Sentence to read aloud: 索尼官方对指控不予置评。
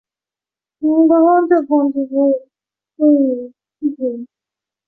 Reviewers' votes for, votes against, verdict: 0, 4, rejected